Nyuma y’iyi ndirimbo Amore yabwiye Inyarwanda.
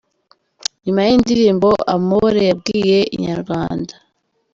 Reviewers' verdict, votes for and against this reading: accepted, 2, 1